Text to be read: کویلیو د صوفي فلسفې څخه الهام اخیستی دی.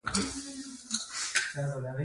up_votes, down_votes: 1, 2